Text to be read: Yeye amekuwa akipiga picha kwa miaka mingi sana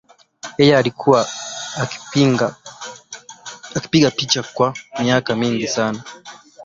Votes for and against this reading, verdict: 0, 2, rejected